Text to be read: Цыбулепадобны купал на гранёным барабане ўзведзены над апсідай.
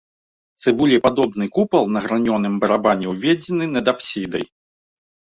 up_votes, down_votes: 0, 2